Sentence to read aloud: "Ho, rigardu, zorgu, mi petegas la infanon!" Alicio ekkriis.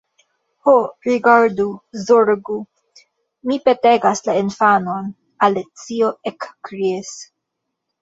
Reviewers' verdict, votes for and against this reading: accepted, 2, 0